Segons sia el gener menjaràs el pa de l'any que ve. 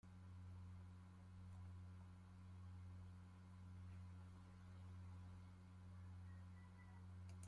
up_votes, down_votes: 0, 2